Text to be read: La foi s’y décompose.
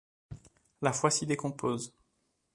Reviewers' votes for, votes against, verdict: 2, 0, accepted